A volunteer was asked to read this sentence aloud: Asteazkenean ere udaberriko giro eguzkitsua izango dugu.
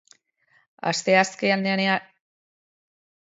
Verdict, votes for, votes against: rejected, 0, 3